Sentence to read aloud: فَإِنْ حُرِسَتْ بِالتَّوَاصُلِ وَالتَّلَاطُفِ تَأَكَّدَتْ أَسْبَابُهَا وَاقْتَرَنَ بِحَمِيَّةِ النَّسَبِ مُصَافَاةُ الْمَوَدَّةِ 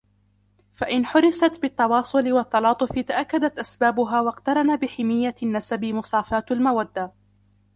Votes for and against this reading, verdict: 1, 2, rejected